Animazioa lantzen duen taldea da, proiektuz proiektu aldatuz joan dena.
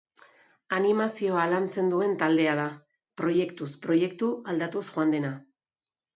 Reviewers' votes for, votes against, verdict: 2, 0, accepted